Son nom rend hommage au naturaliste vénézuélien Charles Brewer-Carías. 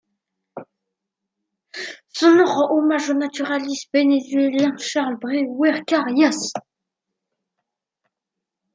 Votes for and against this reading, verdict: 0, 2, rejected